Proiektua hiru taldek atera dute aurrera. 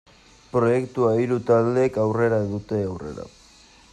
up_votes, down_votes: 0, 2